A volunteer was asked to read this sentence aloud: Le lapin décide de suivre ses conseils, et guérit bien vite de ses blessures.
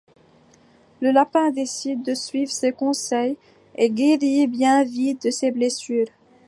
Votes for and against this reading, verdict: 2, 0, accepted